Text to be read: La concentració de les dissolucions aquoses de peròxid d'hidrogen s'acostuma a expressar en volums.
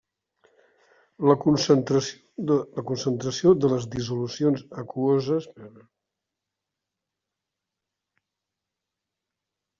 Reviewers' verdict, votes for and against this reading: rejected, 0, 2